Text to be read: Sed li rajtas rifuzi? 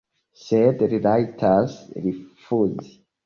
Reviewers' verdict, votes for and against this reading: accepted, 2, 1